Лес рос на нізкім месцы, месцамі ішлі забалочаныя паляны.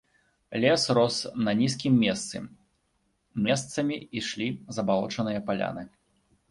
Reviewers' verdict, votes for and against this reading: accepted, 2, 0